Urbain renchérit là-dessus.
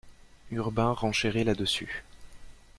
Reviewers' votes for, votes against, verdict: 2, 0, accepted